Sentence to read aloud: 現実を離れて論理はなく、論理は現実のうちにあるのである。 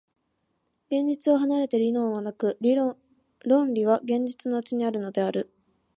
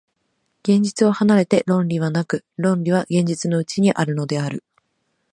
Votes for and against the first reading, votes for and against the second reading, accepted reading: 0, 2, 2, 0, second